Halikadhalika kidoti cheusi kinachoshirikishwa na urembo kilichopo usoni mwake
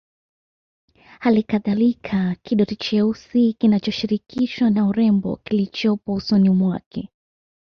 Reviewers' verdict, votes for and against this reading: accepted, 2, 0